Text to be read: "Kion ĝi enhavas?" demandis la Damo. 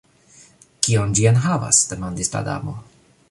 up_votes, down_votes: 1, 2